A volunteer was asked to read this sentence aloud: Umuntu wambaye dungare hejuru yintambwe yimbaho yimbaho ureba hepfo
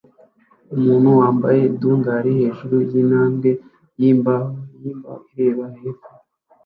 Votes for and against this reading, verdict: 0, 2, rejected